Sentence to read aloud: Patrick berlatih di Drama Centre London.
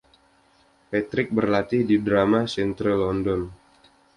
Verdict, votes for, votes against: accepted, 2, 0